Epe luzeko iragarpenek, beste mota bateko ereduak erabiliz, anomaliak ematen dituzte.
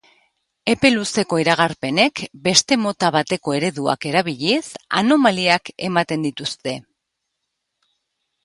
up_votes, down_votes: 2, 0